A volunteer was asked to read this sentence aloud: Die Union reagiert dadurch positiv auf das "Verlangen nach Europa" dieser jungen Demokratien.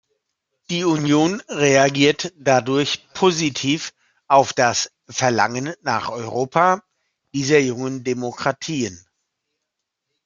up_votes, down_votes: 2, 0